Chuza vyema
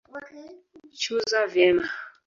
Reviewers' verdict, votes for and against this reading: rejected, 0, 2